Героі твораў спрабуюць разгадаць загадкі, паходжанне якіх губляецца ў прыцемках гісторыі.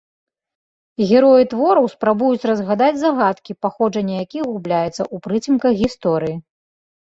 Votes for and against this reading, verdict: 3, 1, accepted